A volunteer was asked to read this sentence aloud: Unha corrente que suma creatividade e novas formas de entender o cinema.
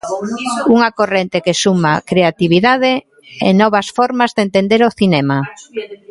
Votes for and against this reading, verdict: 2, 1, accepted